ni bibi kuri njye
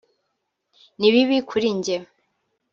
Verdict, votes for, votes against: accepted, 3, 0